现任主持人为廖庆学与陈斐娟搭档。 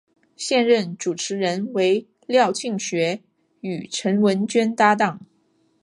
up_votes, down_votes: 0, 2